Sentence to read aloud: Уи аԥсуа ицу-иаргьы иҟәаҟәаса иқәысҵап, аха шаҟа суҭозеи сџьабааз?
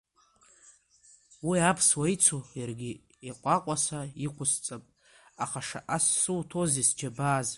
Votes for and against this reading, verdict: 2, 1, accepted